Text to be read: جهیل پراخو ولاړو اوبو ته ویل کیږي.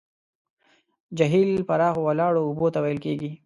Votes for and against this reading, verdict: 2, 0, accepted